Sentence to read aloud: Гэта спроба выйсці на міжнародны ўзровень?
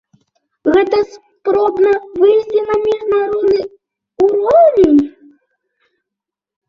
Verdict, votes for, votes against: rejected, 0, 2